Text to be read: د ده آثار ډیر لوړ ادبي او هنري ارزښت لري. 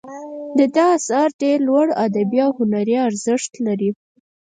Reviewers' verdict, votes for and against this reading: rejected, 0, 4